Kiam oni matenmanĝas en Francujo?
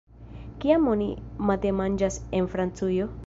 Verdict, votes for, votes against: accepted, 2, 0